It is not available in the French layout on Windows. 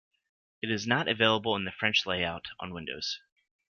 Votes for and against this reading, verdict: 2, 0, accepted